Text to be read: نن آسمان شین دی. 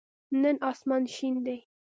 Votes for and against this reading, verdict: 2, 0, accepted